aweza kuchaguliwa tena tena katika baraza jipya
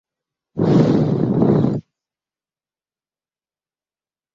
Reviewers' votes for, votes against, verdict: 0, 2, rejected